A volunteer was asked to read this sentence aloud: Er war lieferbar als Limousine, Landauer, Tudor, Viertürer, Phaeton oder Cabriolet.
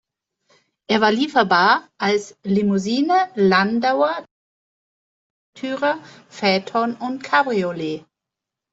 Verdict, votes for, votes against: rejected, 0, 2